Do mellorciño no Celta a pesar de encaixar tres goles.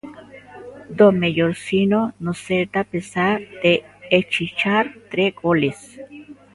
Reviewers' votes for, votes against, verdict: 1, 2, rejected